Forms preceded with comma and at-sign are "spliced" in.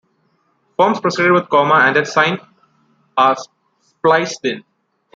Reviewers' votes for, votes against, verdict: 0, 2, rejected